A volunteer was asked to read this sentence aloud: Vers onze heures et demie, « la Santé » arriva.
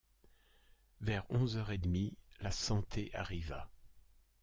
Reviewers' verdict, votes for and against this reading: accepted, 2, 0